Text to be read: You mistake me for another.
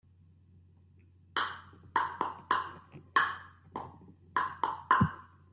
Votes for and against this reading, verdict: 0, 2, rejected